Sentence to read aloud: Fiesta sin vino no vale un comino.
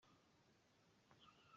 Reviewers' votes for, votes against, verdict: 0, 2, rejected